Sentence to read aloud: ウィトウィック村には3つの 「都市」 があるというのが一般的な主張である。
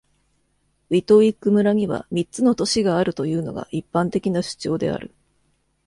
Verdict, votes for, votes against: rejected, 0, 2